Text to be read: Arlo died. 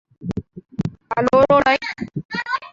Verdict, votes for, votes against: rejected, 0, 2